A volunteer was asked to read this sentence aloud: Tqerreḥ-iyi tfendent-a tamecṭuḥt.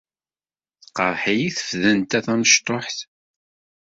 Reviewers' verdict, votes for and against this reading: rejected, 1, 2